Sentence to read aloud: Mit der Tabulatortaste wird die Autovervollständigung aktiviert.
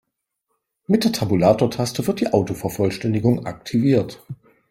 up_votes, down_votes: 3, 0